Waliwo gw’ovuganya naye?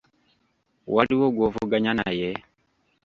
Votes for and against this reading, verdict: 1, 2, rejected